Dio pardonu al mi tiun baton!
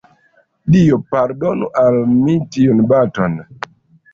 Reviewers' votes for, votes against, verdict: 2, 1, accepted